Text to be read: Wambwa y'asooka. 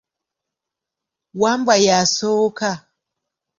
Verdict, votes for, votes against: accepted, 2, 0